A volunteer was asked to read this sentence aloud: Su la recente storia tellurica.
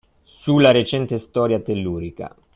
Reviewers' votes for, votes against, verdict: 2, 0, accepted